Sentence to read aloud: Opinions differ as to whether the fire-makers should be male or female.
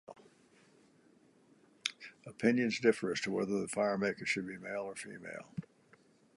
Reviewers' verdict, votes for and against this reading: accepted, 3, 0